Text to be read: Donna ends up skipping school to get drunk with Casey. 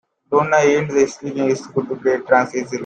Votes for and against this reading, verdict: 0, 2, rejected